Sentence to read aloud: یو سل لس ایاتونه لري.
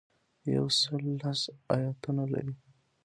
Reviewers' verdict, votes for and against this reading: accepted, 2, 0